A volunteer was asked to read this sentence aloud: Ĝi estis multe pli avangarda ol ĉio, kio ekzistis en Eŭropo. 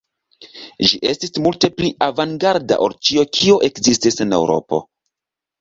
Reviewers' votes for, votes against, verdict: 2, 0, accepted